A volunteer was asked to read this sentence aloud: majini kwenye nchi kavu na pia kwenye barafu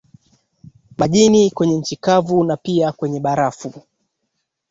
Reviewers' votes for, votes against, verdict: 2, 1, accepted